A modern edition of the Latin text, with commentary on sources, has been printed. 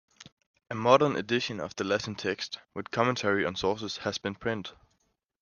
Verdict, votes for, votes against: rejected, 0, 2